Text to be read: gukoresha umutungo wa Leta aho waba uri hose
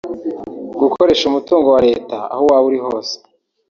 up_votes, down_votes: 0, 2